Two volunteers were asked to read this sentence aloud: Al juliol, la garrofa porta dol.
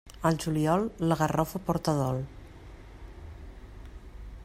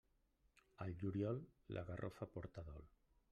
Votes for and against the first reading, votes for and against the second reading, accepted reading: 2, 0, 0, 2, first